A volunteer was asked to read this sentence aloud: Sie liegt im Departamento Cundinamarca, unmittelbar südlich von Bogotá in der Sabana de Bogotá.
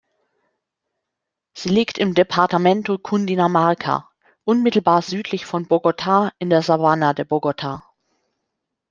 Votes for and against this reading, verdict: 2, 0, accepted